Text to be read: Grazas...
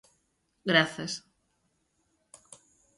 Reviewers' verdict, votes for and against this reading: accepted, 2, 0